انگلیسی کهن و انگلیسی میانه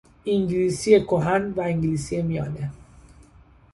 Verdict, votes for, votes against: accepted, 2, 0